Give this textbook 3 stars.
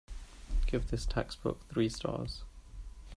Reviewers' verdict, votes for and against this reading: rejected, 0, 2